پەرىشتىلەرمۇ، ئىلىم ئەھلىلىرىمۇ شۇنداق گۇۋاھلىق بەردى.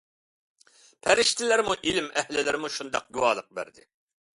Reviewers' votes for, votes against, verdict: 2, 0, accepted